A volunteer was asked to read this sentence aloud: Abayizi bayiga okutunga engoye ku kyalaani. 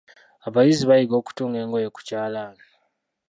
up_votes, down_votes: 0, 2